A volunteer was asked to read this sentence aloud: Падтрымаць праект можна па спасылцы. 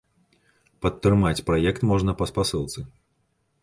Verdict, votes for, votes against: accepted, 2, 0